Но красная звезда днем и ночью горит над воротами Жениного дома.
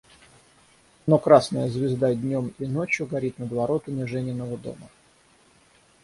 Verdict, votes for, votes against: rejected, 3, 3